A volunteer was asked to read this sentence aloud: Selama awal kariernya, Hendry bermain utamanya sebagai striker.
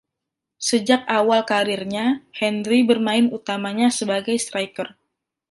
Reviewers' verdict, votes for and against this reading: rejected, 1, 2